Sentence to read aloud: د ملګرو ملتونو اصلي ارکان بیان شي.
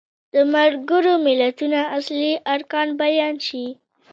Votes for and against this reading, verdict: 2, 0, accepted